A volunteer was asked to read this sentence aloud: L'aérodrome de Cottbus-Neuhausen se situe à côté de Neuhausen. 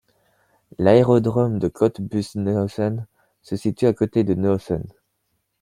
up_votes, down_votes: 2, 0